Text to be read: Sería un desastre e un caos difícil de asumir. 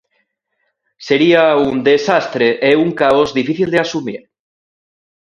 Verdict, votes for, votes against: accepted, 2, 0